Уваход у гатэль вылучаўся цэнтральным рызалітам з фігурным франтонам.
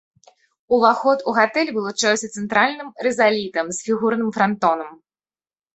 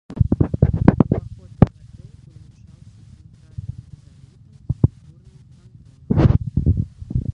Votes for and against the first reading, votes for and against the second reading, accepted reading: 2, 0, 0, 2, first